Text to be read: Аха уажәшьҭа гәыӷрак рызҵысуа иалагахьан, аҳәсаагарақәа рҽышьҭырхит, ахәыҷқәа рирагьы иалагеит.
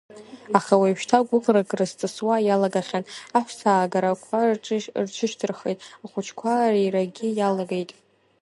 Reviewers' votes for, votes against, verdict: 1, 2, rejected